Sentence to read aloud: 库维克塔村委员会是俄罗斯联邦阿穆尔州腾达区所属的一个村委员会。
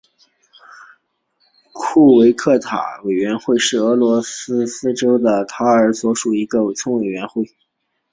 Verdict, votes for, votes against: rejected, 0, 2